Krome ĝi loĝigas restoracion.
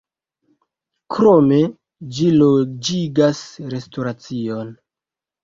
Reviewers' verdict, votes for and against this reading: accepted, 2, 0